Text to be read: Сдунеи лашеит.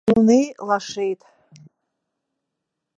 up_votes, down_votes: 1, 2